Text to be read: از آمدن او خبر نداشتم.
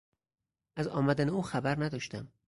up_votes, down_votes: 2, 2